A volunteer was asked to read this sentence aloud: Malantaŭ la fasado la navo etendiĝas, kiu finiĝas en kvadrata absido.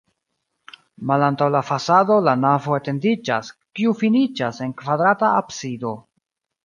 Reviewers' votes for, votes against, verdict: 1, 2, rejected